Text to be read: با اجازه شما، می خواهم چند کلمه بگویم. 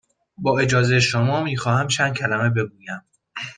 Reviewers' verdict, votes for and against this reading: accepted, 2, 0